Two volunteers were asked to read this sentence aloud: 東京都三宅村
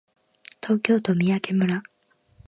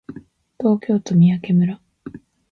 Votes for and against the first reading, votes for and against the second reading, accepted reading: 0, 2, 3, 1, second